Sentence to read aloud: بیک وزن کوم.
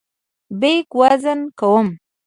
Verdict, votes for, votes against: accepted, 2, 0